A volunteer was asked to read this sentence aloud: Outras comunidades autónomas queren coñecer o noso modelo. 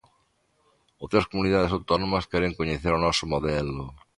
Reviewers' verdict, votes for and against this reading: accepted, 3, 0